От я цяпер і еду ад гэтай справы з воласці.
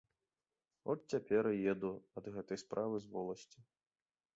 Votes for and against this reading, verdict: 2, 0, accepted